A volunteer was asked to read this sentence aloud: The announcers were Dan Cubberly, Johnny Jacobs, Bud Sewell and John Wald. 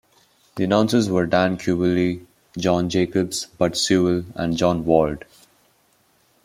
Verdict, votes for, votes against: rejected, 0, 2